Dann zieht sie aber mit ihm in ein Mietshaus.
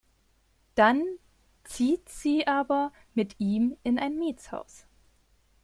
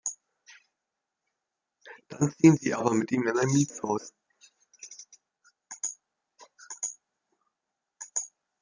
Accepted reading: first